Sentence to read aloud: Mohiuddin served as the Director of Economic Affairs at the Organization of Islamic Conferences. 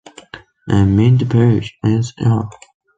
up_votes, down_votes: 0, 2